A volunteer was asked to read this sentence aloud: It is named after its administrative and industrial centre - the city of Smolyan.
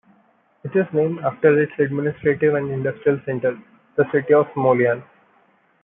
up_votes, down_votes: 2, 0